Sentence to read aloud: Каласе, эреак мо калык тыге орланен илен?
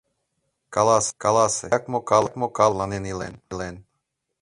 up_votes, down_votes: 0, 2